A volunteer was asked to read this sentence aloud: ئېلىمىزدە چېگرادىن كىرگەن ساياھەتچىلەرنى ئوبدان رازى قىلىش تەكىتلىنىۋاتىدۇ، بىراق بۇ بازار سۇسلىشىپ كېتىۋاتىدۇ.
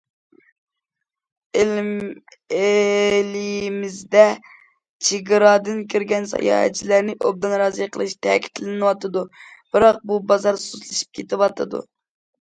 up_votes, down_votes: 0, 2